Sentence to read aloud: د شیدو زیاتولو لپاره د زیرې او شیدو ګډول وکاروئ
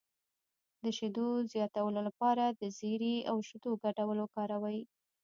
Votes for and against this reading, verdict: 0, 2, rejected